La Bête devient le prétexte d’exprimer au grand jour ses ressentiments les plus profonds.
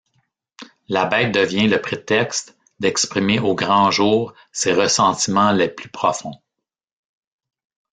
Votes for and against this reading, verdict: 2, 0, accepted